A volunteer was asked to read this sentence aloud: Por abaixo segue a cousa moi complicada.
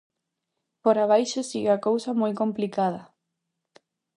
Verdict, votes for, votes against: rejected, 0, 2